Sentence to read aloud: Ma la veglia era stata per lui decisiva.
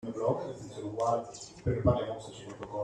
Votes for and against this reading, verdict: 0, 2, rejected